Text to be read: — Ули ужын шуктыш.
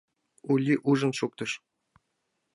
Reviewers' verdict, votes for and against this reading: accepted, 2, 0